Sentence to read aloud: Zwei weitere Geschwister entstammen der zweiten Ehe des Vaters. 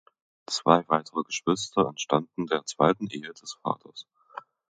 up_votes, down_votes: 1, 2